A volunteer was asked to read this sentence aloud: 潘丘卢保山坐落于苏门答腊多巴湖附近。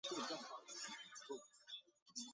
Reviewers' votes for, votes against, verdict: 0, 6, rejected